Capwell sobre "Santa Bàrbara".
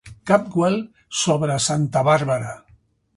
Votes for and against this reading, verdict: 3, 0, accepted